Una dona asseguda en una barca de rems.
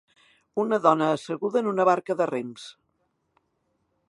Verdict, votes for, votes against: accepted, 4, 0